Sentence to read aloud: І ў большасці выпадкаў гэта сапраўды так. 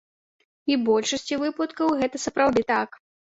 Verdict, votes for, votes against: rejected, 1, 2